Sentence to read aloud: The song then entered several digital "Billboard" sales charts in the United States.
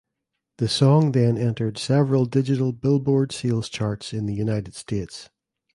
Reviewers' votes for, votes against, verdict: 2, 1, accepted